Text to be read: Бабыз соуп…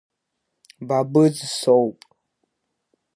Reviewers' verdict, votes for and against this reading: accepted, 2, 1